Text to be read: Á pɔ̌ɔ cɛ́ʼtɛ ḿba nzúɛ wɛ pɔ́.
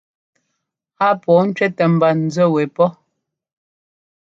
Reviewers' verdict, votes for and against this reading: rejected, 1, 2